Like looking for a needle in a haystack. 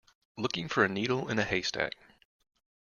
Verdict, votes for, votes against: rejected, 0, 2